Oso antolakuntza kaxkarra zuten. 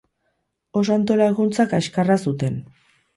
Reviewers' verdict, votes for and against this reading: accepted, 4, 0